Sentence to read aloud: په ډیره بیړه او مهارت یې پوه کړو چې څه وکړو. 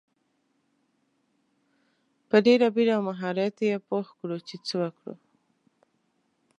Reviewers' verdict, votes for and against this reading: accepted, 2, 0